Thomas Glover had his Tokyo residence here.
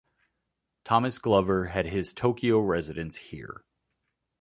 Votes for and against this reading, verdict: 2, 0, accepted